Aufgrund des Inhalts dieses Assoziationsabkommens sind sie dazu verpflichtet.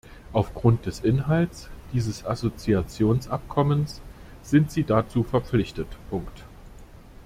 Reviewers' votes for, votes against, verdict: 0, 2, rejected